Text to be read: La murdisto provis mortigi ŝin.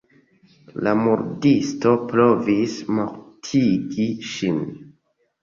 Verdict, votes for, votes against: accepted, 2, 0